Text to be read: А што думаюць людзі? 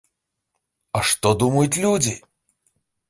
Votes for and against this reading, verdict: 1, 2, rejected